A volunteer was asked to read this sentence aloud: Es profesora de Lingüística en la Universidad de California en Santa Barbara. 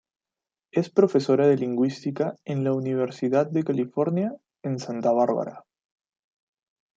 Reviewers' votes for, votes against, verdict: 2, 0, accepted